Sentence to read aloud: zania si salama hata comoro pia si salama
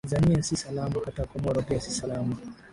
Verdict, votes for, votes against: rejected, 2, 2